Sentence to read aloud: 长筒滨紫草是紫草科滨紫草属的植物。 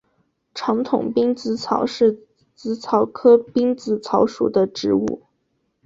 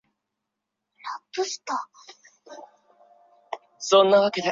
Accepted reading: first